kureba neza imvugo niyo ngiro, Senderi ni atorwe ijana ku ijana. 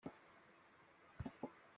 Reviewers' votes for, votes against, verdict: 0, 2, rejected